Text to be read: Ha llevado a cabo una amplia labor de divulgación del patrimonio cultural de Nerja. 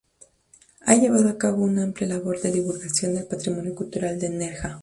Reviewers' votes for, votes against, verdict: 2, 0, accepted